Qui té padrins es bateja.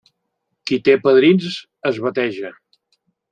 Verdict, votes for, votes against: accepted, 2, 0